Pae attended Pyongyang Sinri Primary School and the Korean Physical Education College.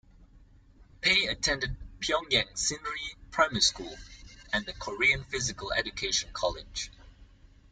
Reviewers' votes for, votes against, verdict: 2, 0, accepted